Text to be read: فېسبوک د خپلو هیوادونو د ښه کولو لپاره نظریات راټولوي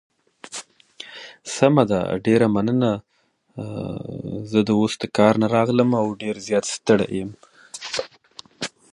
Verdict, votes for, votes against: rejected, 0, 3